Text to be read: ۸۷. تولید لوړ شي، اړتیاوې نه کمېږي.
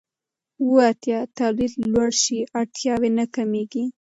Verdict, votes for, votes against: rejected, 0, 2